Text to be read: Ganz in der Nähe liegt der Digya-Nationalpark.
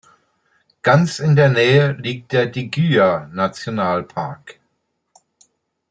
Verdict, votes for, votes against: accepted, 2, 1